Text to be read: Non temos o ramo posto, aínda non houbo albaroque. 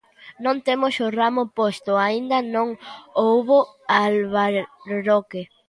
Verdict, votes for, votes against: rejected, 0, 2